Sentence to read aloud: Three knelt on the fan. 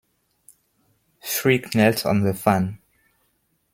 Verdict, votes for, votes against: accepted, 2, 1